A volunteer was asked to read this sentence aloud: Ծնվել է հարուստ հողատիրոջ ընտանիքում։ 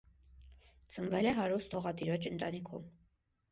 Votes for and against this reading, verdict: 1, 2, rejected